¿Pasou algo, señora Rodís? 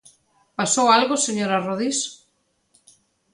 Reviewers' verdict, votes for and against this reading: accepted, 2, 0